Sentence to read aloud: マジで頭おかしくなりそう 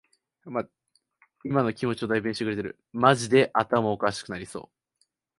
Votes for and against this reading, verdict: 1, 2, rejected